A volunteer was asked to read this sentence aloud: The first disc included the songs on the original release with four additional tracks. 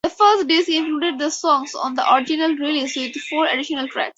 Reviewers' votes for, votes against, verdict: 0, 4, rejected